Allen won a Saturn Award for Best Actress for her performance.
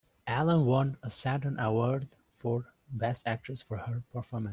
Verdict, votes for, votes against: accepted, 2, 0